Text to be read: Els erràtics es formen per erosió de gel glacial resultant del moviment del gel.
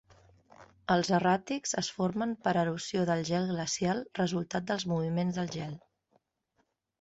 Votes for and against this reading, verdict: 1, 2, rejected